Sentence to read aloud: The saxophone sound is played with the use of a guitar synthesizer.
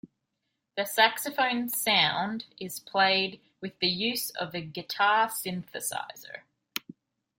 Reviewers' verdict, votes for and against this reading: accepted, 2, 0